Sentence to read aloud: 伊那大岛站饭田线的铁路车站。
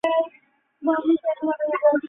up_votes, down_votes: 0, 2